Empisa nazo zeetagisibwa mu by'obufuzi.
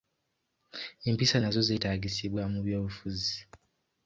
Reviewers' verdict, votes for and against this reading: accepted, 2, 0